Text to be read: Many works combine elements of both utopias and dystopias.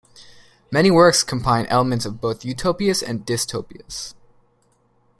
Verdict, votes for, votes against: accepted, 2, 0